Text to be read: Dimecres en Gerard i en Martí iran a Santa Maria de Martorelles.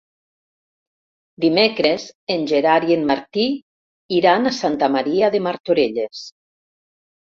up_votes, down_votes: 0, 2